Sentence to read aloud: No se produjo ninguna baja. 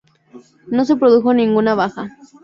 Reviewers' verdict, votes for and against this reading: accepted, 2, 0